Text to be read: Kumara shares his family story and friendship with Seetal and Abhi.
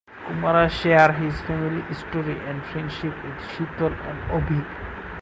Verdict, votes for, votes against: rejected, 2, 2